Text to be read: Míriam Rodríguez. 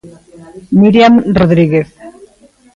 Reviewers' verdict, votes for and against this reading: accepted, 2, 1